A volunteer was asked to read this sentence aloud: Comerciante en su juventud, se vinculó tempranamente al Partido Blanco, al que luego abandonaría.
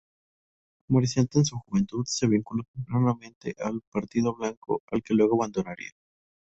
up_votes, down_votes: 0, 2